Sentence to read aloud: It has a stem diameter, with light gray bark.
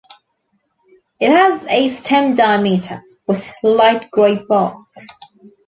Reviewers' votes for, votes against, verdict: 1, 2, rejected